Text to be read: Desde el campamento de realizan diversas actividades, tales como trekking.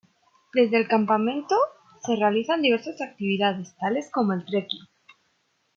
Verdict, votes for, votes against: rejected, 2, 3